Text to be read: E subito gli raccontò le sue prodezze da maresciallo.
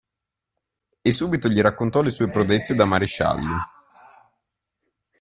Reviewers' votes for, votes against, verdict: 1, 2, rejected